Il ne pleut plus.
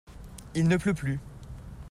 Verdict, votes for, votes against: accepted, 2, 0